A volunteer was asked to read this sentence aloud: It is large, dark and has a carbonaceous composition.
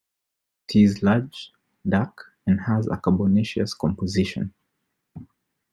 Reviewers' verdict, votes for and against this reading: rejected, 0, 2